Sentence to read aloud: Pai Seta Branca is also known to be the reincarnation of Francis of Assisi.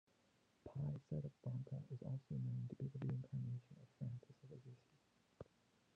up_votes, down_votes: 0, 2